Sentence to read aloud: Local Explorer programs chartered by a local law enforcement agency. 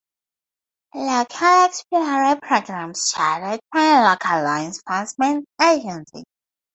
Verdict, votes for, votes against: accepted, 2, 0